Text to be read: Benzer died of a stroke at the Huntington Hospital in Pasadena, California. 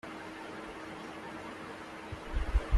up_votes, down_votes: 0, 2